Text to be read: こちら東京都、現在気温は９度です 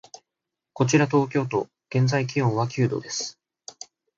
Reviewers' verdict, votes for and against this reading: rejected, 0, 2